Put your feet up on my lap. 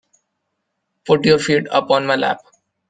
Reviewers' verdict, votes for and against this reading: accepted, 2, 0